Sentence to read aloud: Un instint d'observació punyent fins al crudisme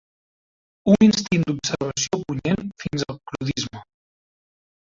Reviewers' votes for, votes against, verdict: 0, 2, rejected